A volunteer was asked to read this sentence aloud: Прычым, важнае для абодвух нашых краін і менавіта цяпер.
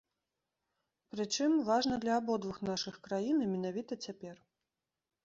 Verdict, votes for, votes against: rejected, 0, 2